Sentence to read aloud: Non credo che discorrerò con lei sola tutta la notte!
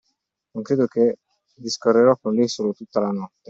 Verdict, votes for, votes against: accepted, 2, 1